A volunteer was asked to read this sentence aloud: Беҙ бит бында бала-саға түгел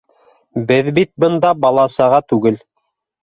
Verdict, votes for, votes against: accepted, 2, 0